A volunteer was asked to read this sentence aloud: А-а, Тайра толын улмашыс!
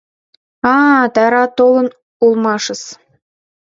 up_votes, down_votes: 2, 0